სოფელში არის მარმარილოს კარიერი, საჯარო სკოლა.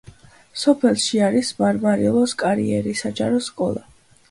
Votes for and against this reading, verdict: 2, 1, accepted